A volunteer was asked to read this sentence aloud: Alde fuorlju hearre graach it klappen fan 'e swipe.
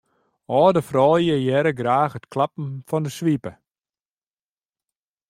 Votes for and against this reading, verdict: 2, 0, accepted